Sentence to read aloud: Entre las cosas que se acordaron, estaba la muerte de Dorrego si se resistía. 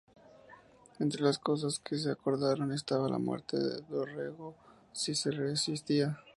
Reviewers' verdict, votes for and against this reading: accepted, 2, 0